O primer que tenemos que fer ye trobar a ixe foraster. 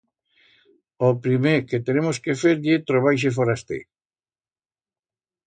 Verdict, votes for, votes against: accepted, 2, 0